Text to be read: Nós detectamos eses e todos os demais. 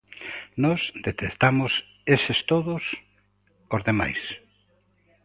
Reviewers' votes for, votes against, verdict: 0, 2, rejected